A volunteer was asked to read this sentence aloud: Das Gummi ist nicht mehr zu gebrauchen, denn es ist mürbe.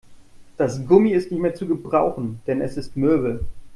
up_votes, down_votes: 2, 0